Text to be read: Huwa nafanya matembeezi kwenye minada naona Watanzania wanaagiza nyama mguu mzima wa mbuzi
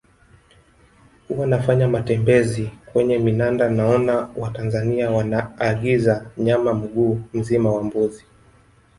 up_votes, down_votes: 1, 2